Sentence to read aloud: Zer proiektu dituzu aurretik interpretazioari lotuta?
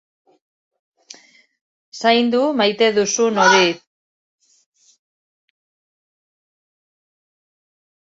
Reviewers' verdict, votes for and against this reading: rejected, 0, 2